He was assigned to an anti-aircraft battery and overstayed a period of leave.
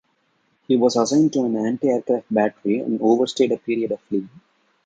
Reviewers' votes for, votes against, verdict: 2, 0, accepted